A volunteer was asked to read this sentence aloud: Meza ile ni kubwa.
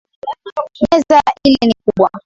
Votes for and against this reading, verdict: 1, 2, rejected